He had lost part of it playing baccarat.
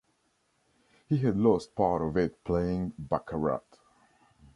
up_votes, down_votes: 2, 0